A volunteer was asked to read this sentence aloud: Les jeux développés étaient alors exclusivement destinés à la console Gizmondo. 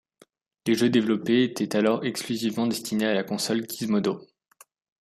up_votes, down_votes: 1, 2